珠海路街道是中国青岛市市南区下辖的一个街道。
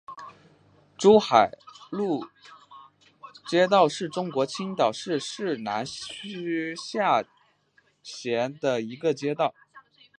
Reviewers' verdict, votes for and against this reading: rejected, 0, 2